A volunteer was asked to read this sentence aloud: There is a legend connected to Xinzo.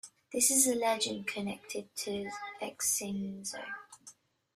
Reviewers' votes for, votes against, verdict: 1, 2, rejected